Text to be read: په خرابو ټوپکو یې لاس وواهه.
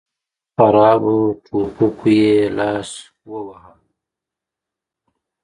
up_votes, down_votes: 2, 0